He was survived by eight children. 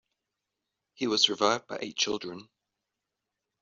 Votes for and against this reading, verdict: 2, 0, accepted